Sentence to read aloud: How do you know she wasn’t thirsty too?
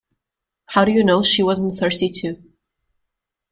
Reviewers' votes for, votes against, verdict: 2, 0, accepted